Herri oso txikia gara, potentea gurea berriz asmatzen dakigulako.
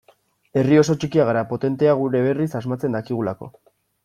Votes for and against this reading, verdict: 1, 2, rejected